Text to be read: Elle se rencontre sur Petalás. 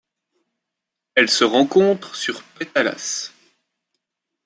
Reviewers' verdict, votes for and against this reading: accepted, 2, 0